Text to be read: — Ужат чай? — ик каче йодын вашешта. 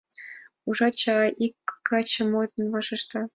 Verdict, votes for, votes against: rejected, 1, 3